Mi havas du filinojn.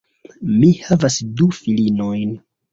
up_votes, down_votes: 2, 1